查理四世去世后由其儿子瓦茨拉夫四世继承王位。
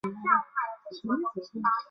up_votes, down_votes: 0, 3